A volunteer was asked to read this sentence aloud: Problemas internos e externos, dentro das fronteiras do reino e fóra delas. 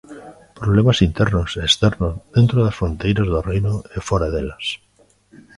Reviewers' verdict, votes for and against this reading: rejected, 1, 2